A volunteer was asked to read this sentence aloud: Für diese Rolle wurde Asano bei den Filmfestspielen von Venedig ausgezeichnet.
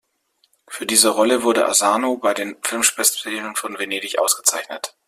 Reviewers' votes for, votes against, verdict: 0, 2, rejected